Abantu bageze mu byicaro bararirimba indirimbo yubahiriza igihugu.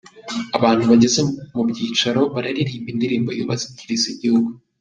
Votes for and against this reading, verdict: 1, 2, rejected